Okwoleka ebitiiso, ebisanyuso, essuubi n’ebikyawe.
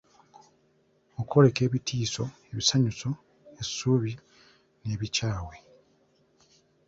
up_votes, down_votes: 2, 0